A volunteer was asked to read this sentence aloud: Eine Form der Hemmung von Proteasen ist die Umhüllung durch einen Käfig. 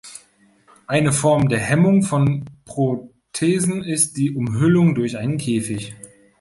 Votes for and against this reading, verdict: 0, 2, rejected